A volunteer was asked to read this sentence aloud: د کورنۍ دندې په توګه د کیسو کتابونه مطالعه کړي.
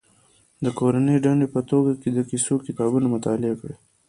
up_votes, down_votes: 0, 2